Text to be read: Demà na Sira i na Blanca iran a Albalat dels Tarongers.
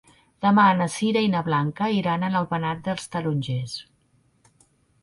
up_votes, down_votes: 1, 2